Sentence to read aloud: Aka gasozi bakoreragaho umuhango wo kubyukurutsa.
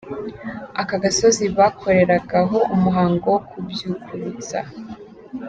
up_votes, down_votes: 2, 0